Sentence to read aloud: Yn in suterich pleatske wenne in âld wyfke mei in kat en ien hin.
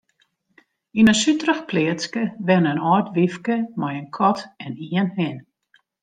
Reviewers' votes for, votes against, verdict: 2, 0, accepted